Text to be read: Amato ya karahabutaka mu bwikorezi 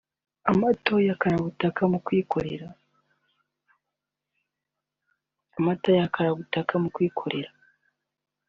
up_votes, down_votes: 0, 2